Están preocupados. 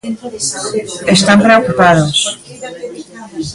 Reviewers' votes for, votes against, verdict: 0, 2, rejected